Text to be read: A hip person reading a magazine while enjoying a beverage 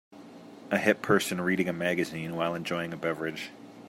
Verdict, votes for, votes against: accepted, 2, 0